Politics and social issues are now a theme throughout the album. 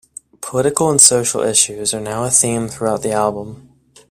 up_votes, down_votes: 1, 2